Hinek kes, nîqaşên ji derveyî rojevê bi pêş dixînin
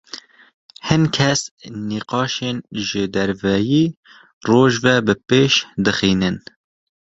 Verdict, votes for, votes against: rejected, 0, 2